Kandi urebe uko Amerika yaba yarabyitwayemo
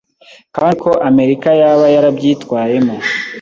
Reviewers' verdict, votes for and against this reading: rejected, 0, 2